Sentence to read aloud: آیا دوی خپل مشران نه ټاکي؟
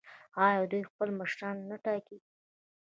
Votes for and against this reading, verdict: 1, 2, rejected